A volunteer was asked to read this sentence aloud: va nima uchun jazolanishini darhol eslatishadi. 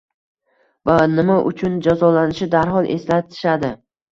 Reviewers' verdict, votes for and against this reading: rejected, 1, 2